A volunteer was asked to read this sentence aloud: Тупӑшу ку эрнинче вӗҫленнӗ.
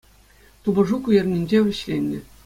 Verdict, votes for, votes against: accepted, 2, 1